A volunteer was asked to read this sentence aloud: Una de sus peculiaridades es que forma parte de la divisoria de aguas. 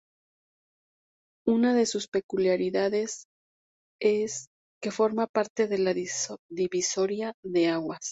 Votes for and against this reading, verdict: 0, 2, rejected